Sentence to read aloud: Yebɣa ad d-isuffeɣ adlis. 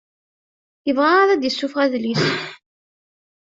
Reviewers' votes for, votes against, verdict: 0, 2, rejected